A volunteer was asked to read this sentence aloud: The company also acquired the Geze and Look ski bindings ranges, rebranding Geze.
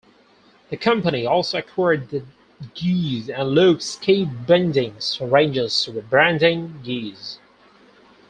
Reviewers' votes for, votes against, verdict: 0, 4, rejected